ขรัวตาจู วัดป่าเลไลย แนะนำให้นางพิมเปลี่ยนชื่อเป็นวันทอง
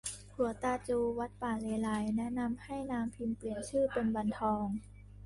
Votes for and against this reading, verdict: 2, 1, accepted